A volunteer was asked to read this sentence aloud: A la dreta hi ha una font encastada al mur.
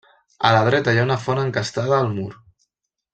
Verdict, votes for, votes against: accepted, 3, 0